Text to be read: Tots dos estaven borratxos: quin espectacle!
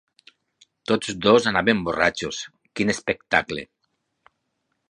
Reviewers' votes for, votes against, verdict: 0, 4, rejected